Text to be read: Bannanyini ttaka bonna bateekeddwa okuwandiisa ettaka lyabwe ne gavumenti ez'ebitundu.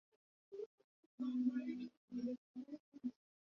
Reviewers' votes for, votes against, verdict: 0, 2, rejected